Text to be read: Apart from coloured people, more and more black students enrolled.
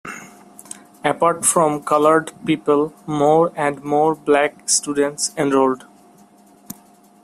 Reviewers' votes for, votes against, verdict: 0, 2, rejected